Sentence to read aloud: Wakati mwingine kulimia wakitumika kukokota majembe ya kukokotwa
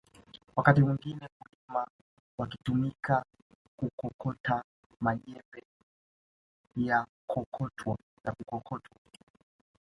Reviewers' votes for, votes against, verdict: 2, 1, accepted